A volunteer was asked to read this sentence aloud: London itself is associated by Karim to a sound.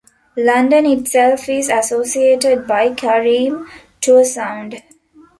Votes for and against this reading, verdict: 2, 0, accepted